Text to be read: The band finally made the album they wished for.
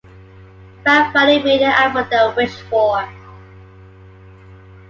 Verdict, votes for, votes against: rejected, 1, 2